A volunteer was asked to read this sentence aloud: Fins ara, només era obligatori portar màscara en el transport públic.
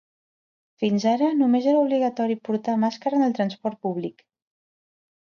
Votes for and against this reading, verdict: 2, 0, accepted